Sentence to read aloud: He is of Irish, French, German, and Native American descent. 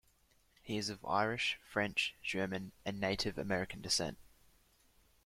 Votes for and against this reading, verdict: 2, 0, accepted